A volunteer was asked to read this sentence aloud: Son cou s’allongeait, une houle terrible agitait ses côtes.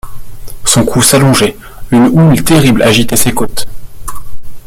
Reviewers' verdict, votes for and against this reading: rejected, 1, 2